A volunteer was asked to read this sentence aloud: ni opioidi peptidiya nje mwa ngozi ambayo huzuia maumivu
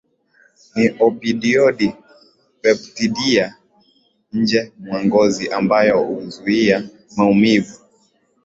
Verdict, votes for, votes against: rejected, 1, 2